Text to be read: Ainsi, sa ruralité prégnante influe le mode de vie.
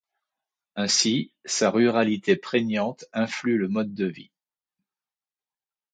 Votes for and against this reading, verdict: 2, 0, accepted